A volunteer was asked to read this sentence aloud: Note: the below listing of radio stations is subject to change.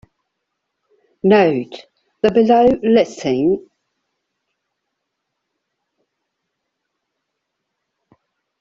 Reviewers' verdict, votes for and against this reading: rejected, 0, 2